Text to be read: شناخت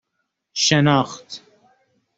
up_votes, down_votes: 2, 0